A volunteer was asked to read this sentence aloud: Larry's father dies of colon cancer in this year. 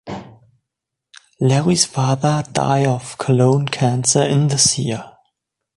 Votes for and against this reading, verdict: 1, 2, rejected